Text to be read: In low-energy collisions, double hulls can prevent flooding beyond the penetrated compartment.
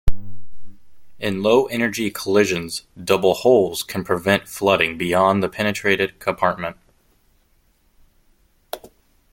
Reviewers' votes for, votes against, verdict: 2, 0, accepted